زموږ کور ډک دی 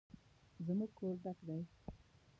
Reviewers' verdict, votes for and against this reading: rejected, 1, 2